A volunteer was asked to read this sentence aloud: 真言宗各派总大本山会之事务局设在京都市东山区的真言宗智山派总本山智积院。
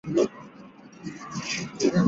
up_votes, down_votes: 0, 2